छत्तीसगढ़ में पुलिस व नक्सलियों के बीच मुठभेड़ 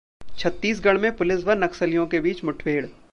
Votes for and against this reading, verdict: 2, 0, accepted